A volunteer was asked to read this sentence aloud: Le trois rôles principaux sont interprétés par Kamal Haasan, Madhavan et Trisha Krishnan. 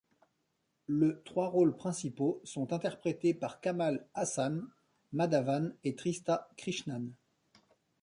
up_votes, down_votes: 0, 2